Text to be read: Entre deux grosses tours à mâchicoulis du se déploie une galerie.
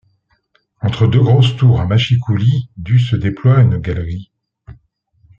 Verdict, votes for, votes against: rejected, 1, 2